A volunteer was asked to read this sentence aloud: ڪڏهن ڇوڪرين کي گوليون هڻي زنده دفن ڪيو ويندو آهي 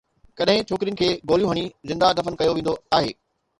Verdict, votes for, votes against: accepted, 2, 0